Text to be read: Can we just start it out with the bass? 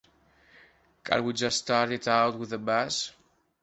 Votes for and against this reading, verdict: 1, 2, rejected